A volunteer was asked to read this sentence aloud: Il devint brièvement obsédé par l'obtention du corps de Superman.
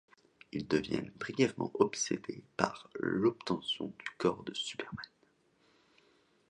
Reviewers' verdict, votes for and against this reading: rejected, 1, 2